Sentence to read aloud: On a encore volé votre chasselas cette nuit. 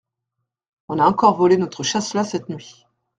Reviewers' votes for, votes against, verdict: 1, 2, rejected